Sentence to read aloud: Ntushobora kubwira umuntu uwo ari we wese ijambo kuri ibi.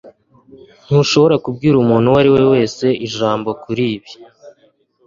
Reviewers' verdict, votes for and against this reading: accepted, 2, 0